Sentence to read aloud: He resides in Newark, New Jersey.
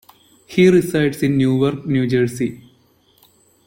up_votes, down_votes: 2, 0